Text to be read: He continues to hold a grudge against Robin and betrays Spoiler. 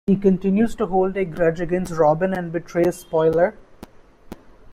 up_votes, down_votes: 2, 0